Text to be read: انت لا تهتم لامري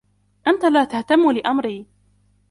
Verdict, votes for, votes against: rejected, 1, 2